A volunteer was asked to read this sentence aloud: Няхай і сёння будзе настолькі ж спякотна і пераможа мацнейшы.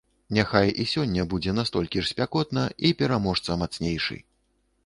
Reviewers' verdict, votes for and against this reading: rejected, 0, 2